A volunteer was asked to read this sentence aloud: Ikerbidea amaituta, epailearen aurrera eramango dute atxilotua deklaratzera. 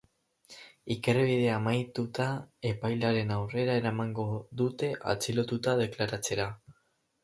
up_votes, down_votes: 2, 2